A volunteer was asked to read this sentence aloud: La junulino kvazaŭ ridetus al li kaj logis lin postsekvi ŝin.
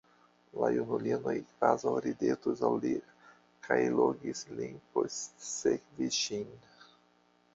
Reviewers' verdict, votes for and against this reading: rejected, 0, 2